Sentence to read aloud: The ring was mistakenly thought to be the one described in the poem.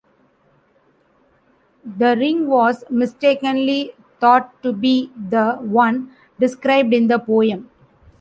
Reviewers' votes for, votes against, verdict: 1, 2, rejected